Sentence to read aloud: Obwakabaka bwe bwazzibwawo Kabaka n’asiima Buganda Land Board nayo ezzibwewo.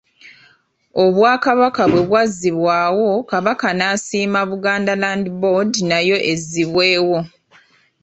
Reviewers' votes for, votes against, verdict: 1, 2, rejected